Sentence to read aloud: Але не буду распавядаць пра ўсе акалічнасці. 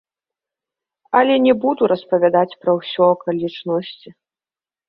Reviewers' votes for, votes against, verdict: 0, 2, rejected